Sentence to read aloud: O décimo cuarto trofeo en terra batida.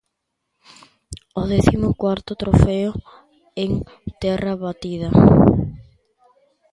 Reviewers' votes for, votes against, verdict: 1, 2, rejected